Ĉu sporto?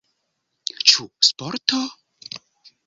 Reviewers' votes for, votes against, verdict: 3, 0, accepted